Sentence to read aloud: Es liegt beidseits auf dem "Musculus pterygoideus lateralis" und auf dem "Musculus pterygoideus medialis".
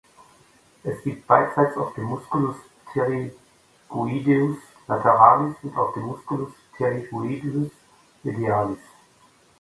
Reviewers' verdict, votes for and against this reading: rejected, 1, 2